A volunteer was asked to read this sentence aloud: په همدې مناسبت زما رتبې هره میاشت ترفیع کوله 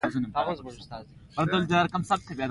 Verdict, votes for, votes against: rejected, 1, 2